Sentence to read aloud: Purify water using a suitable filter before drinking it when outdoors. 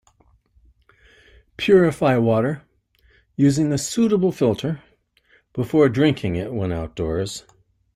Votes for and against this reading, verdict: 2, 0, accepted